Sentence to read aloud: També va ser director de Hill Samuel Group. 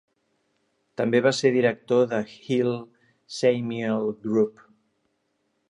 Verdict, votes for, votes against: rejected, 0, 2